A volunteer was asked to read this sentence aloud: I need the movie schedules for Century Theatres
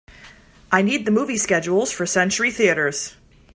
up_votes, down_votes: 3, 0